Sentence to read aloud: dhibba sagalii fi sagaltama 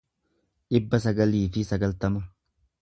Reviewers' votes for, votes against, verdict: 2, 0, accepted